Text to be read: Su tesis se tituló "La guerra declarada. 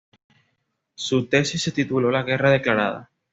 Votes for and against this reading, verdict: 2, 0, accepted